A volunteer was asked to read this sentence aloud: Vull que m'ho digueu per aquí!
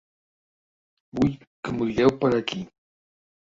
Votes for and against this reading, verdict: 1, 2, rejected